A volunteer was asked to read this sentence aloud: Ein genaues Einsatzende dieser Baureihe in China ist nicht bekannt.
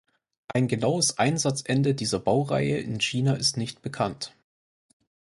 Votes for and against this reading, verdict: 4, 0, accepted